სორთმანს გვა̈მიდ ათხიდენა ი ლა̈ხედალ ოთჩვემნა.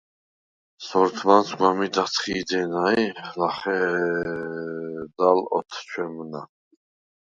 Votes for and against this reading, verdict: 0, 4, rejected